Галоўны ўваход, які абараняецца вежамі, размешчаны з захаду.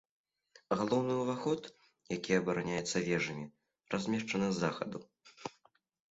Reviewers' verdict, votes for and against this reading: accepted, 2, 0